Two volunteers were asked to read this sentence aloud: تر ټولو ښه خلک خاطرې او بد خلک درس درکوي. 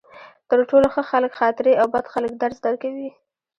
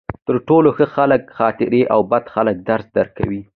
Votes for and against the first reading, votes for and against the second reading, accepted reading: 1, 2, 2, 0, second